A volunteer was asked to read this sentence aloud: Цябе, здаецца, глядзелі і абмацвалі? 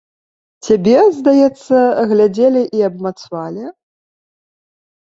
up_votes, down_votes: 1, 2